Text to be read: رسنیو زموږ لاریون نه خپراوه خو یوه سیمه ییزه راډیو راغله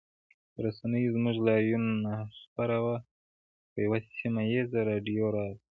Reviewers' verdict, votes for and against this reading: rejected, 1, 2